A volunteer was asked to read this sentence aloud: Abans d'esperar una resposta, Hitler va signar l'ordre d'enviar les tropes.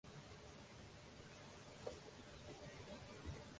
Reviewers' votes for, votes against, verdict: 0, 2, rejected